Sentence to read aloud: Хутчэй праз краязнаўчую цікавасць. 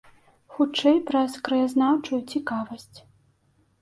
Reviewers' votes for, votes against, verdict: 2, 0, accepted